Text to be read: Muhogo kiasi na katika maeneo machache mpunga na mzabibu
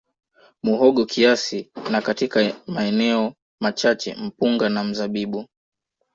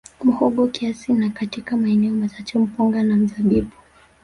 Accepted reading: first